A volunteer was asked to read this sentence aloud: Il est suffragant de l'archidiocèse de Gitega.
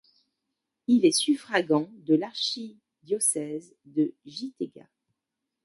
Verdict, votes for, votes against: rejected, 0, 2